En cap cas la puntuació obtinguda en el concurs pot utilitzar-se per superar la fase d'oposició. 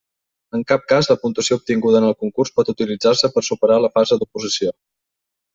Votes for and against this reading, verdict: 3, 0, accepted